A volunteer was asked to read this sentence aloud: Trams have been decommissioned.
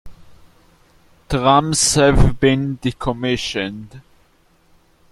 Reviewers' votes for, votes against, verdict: 1, 2, rejected